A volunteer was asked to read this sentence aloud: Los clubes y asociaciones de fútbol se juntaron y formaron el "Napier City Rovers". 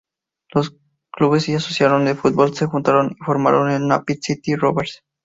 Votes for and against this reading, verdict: 0, 4, rejected